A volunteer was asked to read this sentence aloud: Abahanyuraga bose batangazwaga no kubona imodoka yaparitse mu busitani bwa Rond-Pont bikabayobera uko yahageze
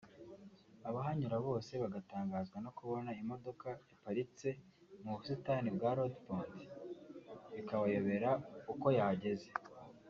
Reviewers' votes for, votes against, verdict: 0, 2, rejected